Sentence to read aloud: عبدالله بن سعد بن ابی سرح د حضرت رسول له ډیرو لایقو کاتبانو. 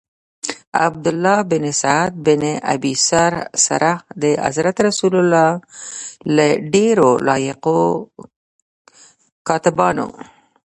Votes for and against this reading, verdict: 1, 2, rejected